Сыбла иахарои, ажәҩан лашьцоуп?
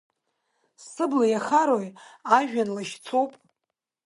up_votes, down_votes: 2, 0